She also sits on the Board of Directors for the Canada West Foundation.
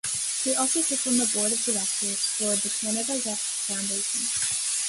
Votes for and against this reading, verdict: 2, 0, accepted